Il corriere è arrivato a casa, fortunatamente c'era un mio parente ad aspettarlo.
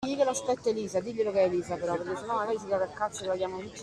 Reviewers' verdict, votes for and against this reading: rejected, 0, 2